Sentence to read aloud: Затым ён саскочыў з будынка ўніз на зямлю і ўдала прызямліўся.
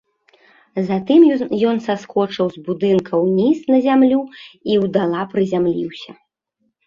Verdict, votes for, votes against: rejected, 0, 2